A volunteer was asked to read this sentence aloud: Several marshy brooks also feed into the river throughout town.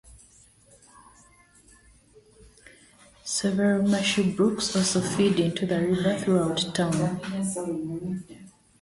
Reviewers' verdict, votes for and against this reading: rejected, 0, 2